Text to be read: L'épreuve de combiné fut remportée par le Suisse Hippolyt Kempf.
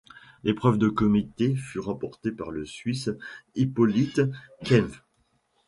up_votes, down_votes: 1, 2